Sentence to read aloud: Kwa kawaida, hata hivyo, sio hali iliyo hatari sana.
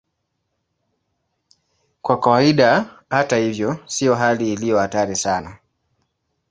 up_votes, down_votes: 2, 1